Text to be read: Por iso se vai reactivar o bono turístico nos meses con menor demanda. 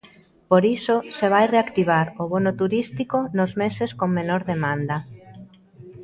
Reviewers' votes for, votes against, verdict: 1, 2, rejected